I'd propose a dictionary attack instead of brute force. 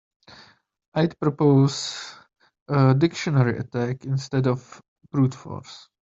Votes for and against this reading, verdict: 1, 2, rejected